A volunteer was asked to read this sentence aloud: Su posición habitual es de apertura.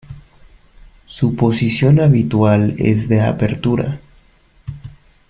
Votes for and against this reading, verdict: 2, 0, accepted